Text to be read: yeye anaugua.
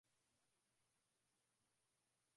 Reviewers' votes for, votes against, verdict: 0, 4, rejected